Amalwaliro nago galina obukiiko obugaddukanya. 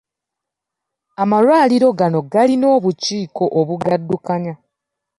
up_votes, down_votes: 2, 1